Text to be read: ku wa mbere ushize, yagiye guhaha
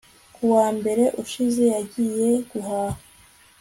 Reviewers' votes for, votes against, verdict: 2, 0, accepted